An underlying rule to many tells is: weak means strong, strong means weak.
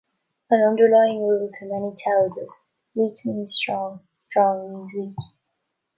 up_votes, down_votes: 2, 0